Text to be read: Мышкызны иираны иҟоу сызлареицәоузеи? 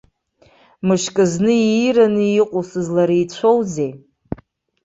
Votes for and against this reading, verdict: 1, 3, rejected